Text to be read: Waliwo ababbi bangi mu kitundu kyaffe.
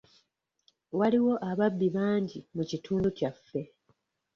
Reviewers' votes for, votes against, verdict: 2, 0, accepted